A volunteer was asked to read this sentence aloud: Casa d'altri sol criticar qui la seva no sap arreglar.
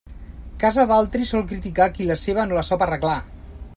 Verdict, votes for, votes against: rejected, 0, 2